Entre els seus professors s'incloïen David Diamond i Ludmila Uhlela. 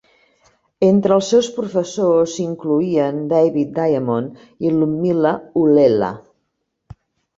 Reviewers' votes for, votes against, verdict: 2, 0, accepted